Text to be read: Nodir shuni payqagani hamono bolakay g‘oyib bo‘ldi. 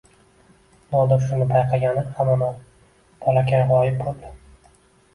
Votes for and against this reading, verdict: 1, 2, rejected